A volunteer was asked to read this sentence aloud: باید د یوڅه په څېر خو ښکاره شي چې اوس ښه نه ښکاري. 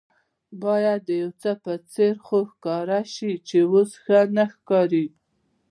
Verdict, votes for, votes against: rejected, 1, 2